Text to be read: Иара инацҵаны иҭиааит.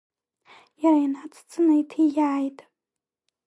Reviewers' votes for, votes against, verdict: 0, 2, rejected